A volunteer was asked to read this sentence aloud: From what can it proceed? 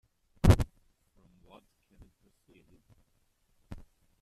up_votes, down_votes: 1, 2